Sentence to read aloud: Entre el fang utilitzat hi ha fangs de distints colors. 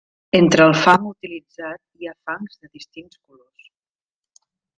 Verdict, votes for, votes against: rejected, 0, 2